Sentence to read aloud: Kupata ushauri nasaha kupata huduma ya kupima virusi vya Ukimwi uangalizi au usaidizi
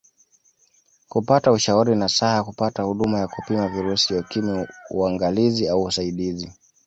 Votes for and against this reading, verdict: 2, 0, accepted